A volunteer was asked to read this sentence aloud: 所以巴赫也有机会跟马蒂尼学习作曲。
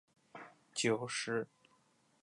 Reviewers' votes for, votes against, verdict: 0, 3, rejected